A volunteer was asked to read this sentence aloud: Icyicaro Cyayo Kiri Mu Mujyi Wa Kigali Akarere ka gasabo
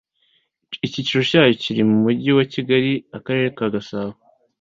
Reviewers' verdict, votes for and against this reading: accepted, 2, 1